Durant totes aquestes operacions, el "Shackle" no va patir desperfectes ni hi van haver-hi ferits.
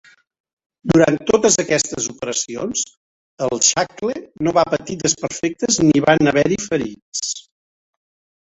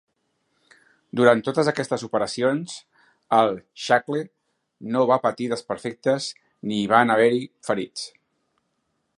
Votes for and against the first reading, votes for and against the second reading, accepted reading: 1, 2, 4, 1, second